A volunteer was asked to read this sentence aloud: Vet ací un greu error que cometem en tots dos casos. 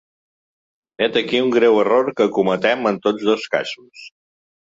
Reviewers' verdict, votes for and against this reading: rejected, 1, 2